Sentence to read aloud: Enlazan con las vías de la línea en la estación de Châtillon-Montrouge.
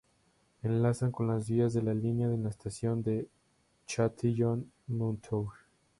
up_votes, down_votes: 2, 0